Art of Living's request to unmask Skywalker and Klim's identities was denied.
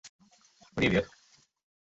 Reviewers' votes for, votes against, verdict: 1, 2, rejected